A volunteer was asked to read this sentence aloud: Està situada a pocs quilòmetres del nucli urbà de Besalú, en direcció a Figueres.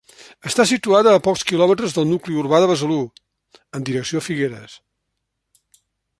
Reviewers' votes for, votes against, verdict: 3, 0, accepted